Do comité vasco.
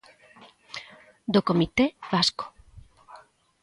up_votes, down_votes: 2, 0